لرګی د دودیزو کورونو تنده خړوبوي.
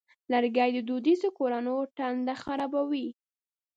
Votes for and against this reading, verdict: 1, 2, rejected